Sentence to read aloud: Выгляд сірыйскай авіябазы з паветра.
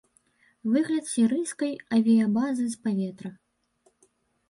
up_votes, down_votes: 2, 0